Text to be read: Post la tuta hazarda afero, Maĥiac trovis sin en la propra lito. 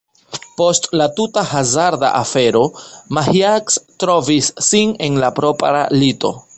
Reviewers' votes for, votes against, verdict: 2, 3, rejected